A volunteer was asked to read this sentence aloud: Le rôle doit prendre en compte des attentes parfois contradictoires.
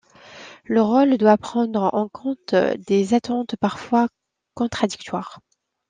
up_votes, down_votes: 2, 1